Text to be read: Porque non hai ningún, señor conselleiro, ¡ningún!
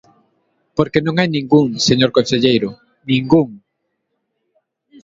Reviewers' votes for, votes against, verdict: 2, 0, accepted